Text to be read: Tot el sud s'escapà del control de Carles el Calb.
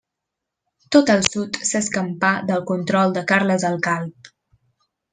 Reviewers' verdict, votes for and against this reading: rejected, 0, 2